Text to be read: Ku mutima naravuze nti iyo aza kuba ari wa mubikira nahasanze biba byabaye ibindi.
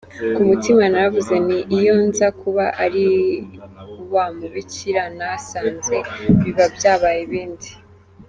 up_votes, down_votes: 1, 2